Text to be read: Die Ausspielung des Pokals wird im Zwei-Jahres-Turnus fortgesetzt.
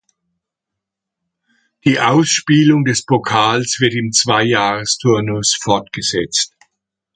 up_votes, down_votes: 2, 0